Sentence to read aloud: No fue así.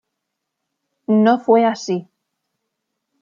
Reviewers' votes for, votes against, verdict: 2, 0, accepted